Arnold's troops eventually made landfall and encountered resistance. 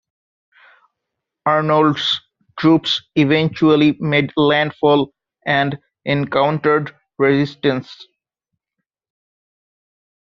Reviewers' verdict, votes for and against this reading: rejected, 0, 2